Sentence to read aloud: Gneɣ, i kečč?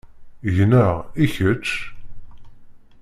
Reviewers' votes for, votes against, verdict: 2, 0, accepted